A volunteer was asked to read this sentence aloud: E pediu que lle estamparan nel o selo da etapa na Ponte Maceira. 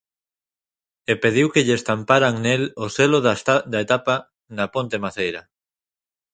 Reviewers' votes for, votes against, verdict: 1, 2, rejected